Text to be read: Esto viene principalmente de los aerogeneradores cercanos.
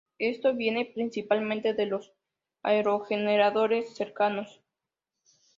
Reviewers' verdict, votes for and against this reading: accepted, 2, 0